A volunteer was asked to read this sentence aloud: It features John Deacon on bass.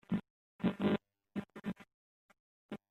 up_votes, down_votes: 0, 2